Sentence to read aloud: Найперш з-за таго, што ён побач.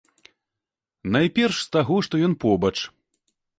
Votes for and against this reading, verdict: 1, 2, rejected